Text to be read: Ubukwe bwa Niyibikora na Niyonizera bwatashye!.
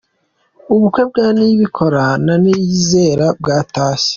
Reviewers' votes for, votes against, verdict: 2, 0, accepted